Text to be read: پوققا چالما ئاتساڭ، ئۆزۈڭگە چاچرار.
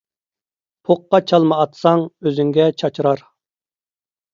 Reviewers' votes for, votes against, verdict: 2, 0, accepted